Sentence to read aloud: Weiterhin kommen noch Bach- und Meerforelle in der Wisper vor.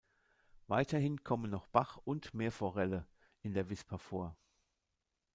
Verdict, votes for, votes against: rejected, 1, 2